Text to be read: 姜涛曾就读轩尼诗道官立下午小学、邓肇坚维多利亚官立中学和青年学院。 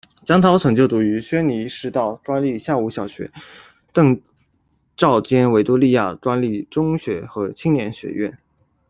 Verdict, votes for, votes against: accepted, 2, 0